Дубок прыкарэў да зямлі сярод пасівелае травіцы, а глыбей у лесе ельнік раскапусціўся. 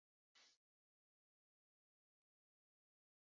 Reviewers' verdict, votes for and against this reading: rejected, 0, 2